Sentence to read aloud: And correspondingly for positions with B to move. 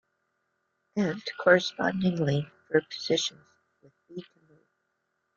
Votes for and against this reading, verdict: 1, 2, rejected